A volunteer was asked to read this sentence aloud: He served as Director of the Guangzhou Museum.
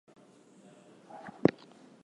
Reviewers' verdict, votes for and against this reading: rejected, 0, 4